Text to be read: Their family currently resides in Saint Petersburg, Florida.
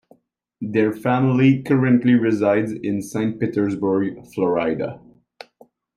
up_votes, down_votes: 1, 2